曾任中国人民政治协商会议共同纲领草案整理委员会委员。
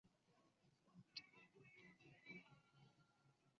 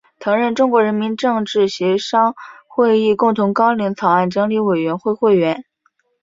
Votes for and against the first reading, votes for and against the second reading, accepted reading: 0, 2, 4, 1, second